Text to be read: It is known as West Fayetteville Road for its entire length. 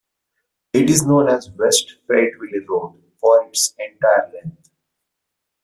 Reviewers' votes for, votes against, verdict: 2, 0, accepted